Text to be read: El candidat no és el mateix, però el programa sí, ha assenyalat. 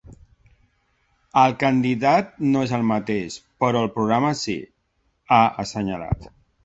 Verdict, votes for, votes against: accepted, 3, 0